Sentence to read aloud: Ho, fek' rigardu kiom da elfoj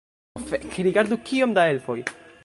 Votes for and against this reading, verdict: 1, 2, rejected